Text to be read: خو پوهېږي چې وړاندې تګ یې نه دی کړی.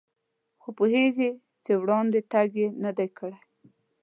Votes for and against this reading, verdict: 2, 0, accepted